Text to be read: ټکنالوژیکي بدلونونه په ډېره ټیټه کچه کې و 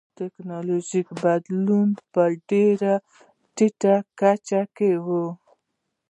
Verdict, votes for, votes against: rejected, 1, 2